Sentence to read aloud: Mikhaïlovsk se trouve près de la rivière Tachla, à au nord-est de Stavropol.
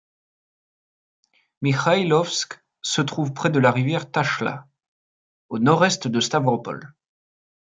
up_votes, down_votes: 1, 2